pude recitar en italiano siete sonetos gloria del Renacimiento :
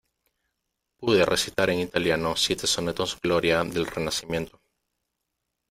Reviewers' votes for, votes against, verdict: 1, 2, rejected